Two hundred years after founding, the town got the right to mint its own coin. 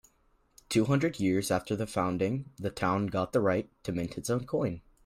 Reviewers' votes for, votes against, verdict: 2, 1, accepted